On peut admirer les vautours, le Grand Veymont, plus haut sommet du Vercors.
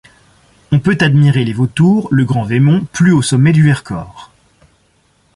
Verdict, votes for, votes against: accepted, 2, 0